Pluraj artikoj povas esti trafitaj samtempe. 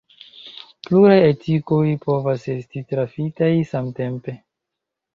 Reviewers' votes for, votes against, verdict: 2, 0, accepted